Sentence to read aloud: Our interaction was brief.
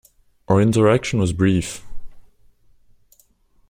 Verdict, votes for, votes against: accepted, 2, 0